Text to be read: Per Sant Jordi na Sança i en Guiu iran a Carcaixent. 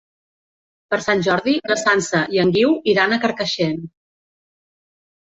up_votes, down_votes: 3, 0